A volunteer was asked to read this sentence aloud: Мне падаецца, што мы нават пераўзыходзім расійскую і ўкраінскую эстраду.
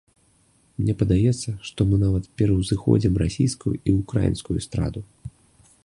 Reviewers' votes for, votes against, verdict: 2, 0, accepted